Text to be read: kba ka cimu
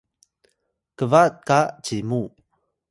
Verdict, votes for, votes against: accepted, 2, 0